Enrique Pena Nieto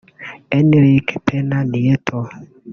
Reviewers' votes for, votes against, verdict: 1, 2, rejected